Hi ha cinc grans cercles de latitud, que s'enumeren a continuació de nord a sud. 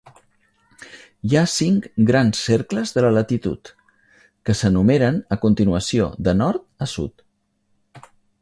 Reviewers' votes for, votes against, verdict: 1, 2, rejected